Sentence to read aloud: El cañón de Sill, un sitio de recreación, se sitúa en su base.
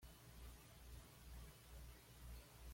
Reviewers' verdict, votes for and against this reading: rejected, 1, 2